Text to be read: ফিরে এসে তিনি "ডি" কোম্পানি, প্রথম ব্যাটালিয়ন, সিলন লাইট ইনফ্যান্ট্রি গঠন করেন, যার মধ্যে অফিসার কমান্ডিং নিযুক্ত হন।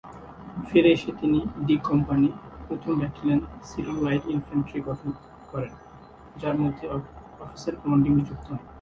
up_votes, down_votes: 1, 2